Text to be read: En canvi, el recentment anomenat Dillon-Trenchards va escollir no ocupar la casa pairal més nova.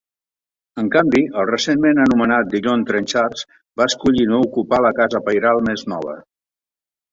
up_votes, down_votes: 3, 0